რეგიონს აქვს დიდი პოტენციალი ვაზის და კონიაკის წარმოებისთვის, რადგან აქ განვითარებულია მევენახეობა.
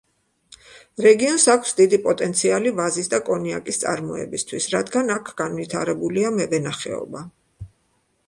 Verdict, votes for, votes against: accepted, 2, 0